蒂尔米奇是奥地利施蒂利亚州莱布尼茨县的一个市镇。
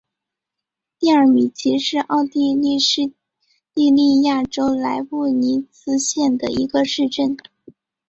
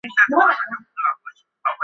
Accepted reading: first